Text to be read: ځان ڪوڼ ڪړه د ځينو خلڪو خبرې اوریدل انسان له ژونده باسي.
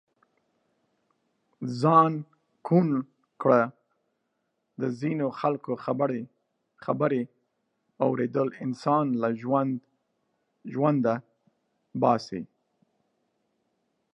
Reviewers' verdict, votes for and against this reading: accepted, 2, 1